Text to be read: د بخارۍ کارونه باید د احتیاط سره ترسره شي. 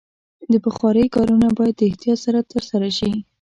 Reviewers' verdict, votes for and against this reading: accepted, 2, 0